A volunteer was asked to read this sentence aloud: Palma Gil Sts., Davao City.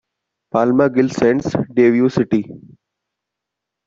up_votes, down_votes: 1, 2